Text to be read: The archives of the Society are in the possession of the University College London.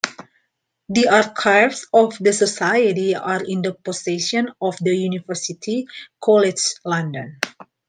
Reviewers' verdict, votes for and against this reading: accepted, 2, 0